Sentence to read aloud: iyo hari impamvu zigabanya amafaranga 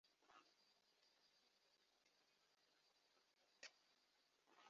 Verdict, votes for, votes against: rejected, 0, 2